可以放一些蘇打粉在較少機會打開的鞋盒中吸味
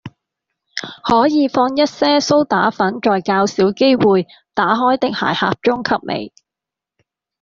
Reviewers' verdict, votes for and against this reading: rejected, 1, 2